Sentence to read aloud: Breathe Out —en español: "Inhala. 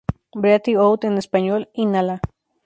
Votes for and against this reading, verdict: 2, 2, rejected